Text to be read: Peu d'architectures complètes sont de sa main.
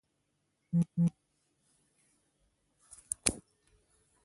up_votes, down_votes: 1, 2